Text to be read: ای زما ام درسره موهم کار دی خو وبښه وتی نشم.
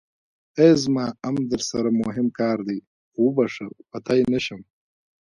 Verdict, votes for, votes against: rejected, 1, 2